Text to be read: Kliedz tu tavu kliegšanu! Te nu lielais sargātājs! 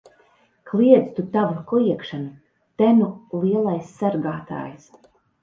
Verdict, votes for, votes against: accepted, 2, 0